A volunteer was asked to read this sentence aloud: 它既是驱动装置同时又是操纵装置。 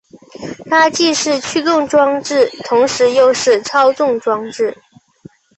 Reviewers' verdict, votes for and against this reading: accepted, 9, 0